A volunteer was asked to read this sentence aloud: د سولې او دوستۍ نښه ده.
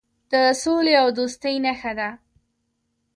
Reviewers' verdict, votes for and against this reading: rejected, 1, 2